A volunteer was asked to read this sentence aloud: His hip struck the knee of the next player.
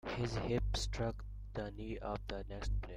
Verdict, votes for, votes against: rejected, 1, 2